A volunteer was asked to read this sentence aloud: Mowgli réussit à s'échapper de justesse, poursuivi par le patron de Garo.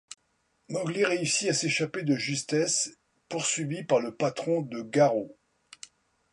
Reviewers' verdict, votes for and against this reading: accepted, 2, 0